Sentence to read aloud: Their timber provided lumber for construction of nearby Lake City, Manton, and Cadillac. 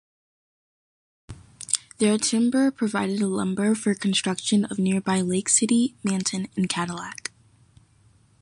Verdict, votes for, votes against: rejected, 1, 2